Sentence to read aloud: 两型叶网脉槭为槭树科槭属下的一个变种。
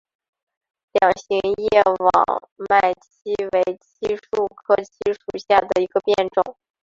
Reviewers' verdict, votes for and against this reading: accepted, 2, 0